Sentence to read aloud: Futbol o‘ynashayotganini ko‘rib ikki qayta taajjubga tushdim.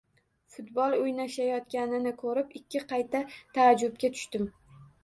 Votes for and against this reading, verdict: 2, 0, accepted